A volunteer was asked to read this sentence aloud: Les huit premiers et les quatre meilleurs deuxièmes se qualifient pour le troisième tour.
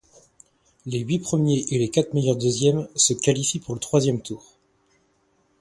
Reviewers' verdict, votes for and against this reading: accepted, 2, 0